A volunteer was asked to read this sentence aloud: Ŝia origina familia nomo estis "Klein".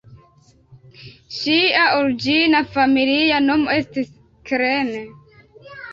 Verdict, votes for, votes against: rejected, 0, 2